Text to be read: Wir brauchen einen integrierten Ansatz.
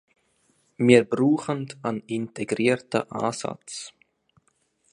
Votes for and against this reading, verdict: 1, 2, rejected